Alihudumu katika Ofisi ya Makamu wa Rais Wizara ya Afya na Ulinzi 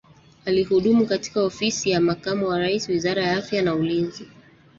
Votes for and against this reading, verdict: 0, 2, rejected